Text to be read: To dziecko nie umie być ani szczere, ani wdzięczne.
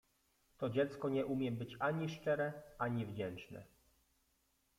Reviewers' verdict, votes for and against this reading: accepted, 2, 0